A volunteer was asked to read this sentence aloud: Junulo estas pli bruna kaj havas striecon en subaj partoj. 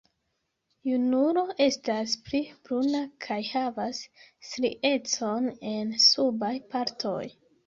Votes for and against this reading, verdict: 2, 1, accepted